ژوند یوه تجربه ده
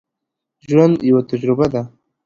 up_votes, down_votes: 2, 0